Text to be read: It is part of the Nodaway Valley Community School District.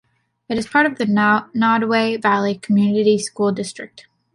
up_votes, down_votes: 0, 2